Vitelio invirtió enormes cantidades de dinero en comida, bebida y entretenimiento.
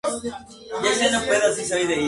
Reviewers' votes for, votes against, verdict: 0, 2, rejected